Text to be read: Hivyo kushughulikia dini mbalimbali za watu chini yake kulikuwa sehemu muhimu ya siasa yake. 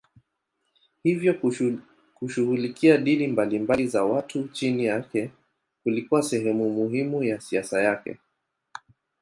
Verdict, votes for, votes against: rejected, 0, 2